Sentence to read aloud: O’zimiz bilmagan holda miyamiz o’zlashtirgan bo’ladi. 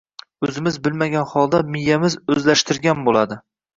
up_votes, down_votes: 2, 0